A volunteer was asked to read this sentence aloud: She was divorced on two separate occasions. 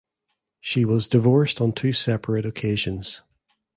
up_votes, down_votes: 2, 0